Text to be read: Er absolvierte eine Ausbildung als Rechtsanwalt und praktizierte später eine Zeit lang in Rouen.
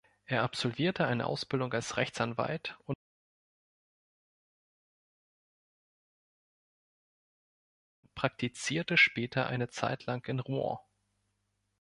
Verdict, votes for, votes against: rejected, 0, 3